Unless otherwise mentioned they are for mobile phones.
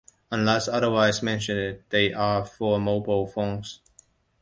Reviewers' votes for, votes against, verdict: 2, 1, accepted